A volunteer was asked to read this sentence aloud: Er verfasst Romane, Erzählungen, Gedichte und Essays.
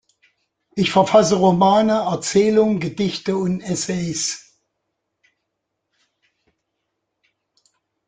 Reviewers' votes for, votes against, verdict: 0, 2, rejected